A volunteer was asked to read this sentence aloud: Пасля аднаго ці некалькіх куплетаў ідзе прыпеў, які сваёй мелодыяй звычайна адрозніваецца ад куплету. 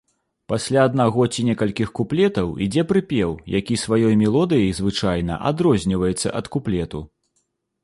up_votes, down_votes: 3, 0